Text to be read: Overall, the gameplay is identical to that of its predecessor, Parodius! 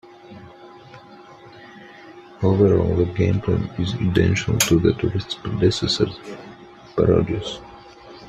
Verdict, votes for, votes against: rejected, 0, 2